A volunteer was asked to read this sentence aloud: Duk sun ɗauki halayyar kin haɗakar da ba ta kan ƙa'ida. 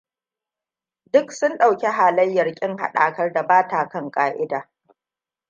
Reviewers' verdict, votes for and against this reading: accepted, 2, 0